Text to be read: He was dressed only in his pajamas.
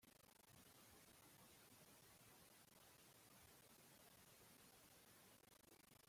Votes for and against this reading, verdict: 0, 2, rejected